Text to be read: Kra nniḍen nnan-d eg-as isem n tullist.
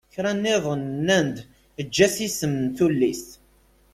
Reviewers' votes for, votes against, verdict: 1, 2, rejected